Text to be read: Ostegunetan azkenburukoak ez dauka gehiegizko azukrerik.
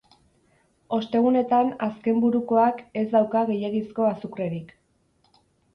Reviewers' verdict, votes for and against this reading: accepted, 4, 2